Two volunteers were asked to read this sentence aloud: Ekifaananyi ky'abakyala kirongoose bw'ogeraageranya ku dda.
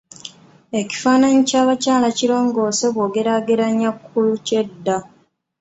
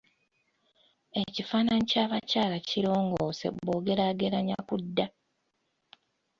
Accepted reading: second